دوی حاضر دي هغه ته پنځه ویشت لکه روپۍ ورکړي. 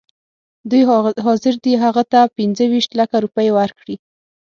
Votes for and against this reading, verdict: 6, 0, accepted